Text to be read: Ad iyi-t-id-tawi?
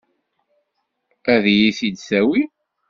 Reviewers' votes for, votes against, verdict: 2, 1, accepted